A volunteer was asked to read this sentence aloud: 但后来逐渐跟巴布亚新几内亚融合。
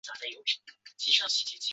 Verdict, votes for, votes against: rejected, 0, 2